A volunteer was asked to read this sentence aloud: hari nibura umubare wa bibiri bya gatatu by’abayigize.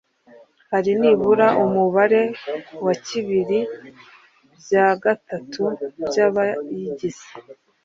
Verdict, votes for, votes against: rejected, 1, 2